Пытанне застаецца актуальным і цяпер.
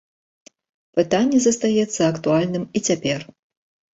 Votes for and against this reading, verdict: 2, 0, accepted